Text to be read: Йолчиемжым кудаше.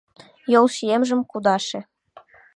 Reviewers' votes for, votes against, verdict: 2, 0, accepted